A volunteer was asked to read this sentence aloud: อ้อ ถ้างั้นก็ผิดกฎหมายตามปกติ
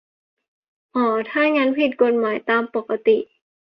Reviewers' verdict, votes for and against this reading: rejected, 0, 2